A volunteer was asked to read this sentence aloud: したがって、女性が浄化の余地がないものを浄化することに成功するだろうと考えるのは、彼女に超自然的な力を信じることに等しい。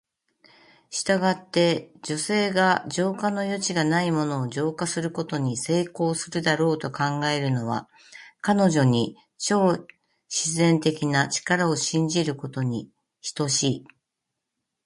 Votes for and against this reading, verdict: 0, 2, rejected